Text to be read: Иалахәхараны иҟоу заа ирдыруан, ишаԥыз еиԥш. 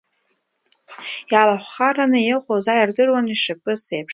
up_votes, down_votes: 2, 0